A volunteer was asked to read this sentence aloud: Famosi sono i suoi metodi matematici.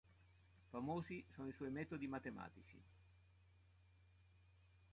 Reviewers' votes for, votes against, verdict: 2, 0, accepted